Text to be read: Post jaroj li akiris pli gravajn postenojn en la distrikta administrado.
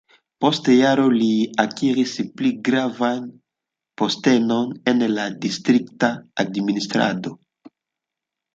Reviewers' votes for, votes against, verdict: 0, 2, rejected